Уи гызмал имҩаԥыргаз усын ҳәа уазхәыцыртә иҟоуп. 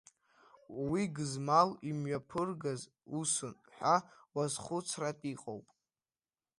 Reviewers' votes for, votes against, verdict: 1, 2, rejected